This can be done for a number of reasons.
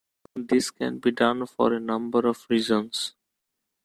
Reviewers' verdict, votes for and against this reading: accepted, 2, 0